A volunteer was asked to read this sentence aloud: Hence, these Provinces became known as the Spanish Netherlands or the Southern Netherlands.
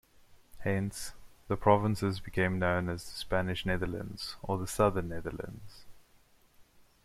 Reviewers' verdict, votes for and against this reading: rejected, 1, 2